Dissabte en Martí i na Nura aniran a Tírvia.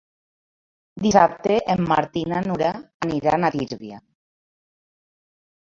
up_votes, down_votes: 0, 2